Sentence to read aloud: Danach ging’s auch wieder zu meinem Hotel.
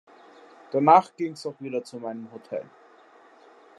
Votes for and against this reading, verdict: 2, 0, accepted